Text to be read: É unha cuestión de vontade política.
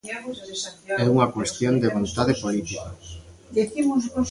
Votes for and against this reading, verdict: 0, 2, rejected